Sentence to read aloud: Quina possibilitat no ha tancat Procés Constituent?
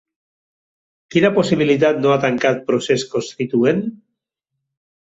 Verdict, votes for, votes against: accepted, 3, 1